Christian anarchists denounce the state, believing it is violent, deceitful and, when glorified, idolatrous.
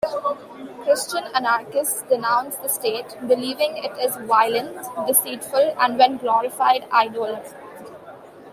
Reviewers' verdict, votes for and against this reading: accepted, 2, 1